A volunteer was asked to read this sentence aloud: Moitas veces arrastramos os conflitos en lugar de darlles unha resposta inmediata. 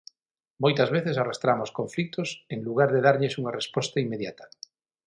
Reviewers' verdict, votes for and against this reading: rejected, 0, 6